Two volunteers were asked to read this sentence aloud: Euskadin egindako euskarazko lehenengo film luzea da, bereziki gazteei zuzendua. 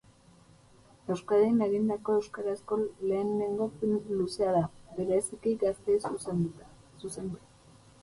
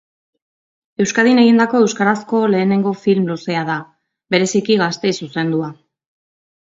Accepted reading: second